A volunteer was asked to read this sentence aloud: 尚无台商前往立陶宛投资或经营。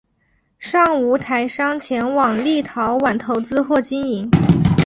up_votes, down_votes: 6, 0